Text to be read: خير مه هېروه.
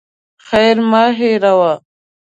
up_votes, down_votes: 2, 0